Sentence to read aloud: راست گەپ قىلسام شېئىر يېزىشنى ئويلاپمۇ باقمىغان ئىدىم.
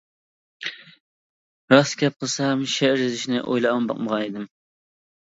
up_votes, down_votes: 0, 2